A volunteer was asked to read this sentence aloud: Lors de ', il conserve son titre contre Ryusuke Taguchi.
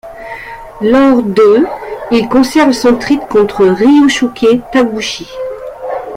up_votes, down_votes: 0, 2